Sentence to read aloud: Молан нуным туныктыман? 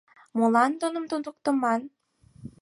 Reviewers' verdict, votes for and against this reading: rejected, 2, 4